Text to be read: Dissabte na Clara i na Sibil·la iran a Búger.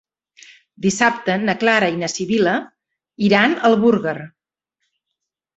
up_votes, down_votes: 0, 2